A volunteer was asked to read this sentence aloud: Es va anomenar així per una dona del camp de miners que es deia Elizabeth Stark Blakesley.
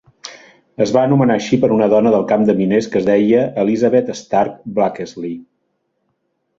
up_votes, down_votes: 2, 0